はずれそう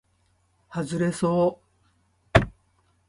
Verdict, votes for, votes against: accepted, 2, 0